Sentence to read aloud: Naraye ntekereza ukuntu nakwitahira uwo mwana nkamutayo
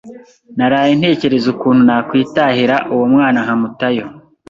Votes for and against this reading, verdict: 2, 0, accepted